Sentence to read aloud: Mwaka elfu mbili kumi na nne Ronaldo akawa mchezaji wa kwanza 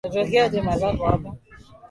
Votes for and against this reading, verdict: 0, 2, rejected